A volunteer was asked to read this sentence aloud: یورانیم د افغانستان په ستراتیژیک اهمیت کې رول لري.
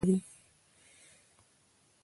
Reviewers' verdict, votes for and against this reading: accepted, 2, 0